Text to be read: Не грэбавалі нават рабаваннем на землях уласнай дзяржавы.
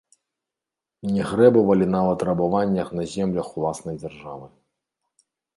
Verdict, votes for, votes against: rejected, 1, 2